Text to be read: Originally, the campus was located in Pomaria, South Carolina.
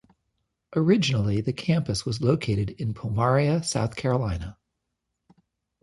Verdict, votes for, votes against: accepted, 2, 0